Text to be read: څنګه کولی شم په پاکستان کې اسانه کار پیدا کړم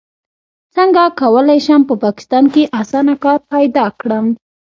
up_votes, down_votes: 2, 0